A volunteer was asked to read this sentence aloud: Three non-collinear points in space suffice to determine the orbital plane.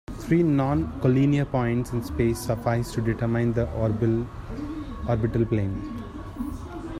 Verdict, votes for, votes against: rejected, 0, 2